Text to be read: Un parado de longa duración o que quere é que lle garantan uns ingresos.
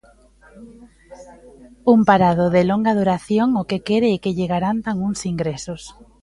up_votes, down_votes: 1, 2